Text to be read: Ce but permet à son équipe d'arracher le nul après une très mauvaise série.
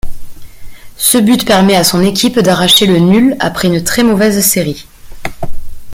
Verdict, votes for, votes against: accepted, 2, 0